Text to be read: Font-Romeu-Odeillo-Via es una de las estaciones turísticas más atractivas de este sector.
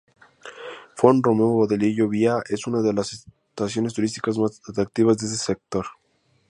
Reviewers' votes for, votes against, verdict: 0, 2, rejected